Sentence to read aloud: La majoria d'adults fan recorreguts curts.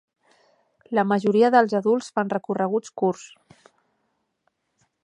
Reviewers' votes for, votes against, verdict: 0, 2, rejected